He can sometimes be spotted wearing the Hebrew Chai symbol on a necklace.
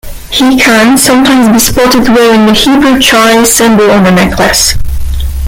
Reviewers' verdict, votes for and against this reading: rejected, 1, 2